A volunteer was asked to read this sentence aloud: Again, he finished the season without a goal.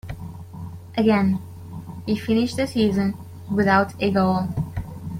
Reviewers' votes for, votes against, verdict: 2, 0, accepted